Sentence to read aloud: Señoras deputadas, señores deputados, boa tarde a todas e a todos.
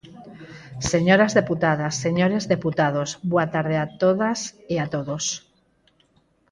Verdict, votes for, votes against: rejected, 2, 4